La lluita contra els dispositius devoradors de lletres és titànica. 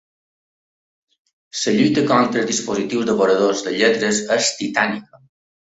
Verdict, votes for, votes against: rejected, 1, 2